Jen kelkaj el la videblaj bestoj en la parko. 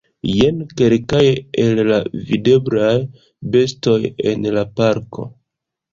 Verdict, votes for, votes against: rejected, 2, 3